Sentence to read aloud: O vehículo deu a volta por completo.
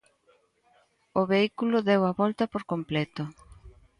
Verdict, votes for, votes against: accepted, 2, 0